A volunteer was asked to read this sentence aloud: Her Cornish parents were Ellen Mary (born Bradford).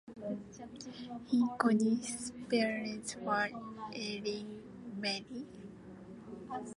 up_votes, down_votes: 0, 2